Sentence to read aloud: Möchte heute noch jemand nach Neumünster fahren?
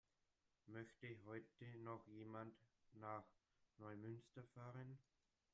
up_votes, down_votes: 0, 2